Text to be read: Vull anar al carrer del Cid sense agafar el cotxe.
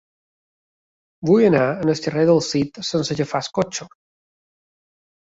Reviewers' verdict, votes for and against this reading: rejected, 1, 2